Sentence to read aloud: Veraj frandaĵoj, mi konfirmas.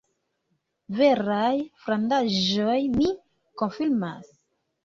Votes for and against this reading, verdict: 1, 2, rejected